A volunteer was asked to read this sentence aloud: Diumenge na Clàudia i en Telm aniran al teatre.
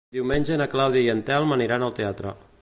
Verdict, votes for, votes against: accepted, 2, 0